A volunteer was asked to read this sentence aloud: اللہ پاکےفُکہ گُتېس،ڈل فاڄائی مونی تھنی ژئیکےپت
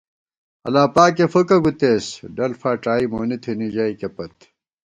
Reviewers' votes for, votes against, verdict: 2, 0, accepted